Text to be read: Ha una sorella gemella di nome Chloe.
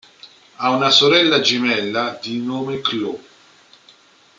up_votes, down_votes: 2, 0